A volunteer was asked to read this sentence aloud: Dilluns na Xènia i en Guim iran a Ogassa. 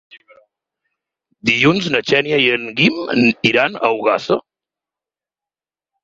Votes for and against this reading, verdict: 6, 0, accepted